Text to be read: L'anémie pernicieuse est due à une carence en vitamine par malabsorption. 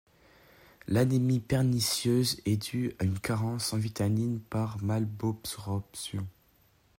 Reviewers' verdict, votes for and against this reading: rejected, 1, 2